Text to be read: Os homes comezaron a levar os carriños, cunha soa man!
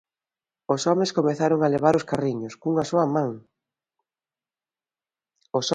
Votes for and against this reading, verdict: 0, 2, rejected